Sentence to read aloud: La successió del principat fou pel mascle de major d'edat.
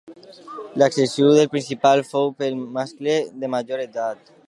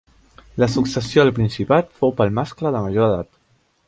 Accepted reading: second